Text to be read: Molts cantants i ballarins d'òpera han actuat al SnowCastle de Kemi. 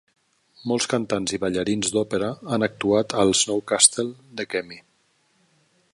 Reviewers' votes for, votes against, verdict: 2, 0, accepted